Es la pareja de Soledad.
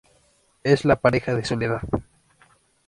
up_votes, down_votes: 2, 0